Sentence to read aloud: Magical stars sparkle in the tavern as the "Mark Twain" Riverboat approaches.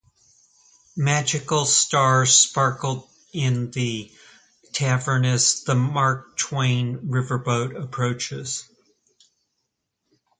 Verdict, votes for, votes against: accepted, 4, 0